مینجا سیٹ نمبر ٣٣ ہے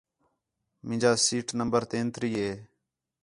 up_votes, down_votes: 0, 2